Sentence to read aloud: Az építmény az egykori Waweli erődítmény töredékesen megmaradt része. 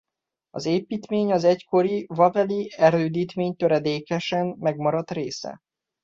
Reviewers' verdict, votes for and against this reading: accepted, 2, 0